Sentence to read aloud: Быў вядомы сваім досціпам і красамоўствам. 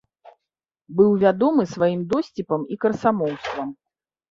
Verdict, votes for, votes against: accepted, 2, 0